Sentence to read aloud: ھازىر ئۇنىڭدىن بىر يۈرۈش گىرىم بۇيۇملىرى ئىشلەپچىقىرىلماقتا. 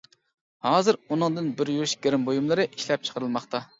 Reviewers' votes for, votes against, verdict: 2, 0, accepted